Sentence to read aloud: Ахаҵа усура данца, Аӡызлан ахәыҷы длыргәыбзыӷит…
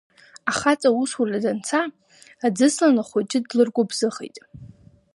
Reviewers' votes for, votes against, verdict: 0, 2, rejected